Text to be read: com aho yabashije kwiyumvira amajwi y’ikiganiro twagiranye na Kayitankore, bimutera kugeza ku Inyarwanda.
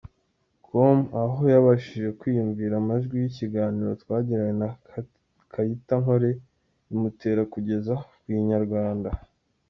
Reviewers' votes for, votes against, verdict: 0, 2, rejected